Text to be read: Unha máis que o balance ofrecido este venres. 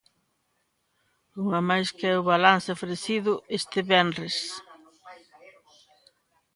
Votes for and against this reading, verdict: 3, 0, accepted